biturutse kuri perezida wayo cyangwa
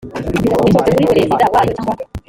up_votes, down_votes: 1, 2